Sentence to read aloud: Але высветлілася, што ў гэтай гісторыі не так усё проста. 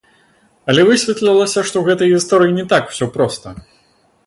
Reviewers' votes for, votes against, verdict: 0, 2, rejected